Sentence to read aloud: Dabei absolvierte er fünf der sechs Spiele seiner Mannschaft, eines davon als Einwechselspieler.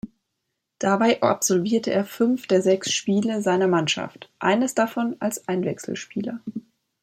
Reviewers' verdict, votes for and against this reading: rejected, 1, 2